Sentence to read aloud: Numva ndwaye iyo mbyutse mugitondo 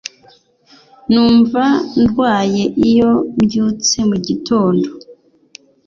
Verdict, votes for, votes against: accepted, 2, 0